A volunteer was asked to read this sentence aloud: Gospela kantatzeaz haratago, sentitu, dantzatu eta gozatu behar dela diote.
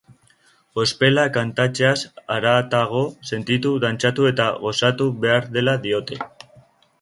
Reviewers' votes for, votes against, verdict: 3, 1, accepted